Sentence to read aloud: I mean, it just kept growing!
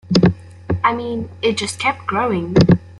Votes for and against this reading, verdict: 2, 0, accepted